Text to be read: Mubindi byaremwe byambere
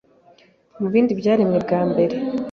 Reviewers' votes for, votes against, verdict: 2, 3, rejected